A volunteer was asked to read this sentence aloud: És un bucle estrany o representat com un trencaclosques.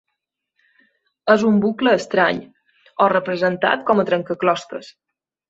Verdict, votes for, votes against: rejected, 0, 2